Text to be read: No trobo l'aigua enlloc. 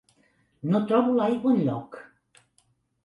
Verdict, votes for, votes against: accepted, 3, 0